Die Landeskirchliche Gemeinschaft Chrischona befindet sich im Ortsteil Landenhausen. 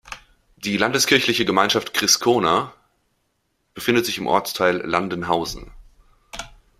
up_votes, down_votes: 1, 2